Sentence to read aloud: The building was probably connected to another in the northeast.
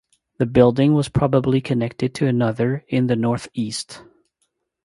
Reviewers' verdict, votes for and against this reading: accepted, 2, 0